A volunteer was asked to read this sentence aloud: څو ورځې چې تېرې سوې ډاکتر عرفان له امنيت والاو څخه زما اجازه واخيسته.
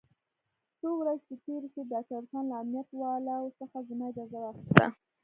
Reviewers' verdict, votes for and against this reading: rejected, 1, 2